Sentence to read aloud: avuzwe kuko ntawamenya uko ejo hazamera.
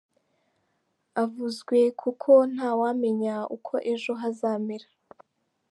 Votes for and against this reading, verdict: 2, 0, accepted